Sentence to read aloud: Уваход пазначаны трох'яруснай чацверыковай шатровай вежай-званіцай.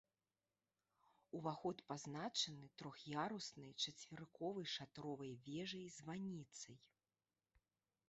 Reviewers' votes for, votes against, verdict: 2, 1, accepted